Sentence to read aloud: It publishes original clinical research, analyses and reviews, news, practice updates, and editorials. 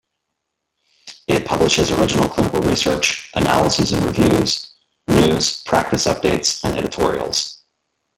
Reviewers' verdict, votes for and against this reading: rejected, 0, 2